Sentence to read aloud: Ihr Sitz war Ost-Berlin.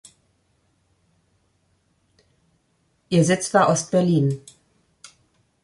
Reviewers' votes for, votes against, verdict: 2, 0, accepted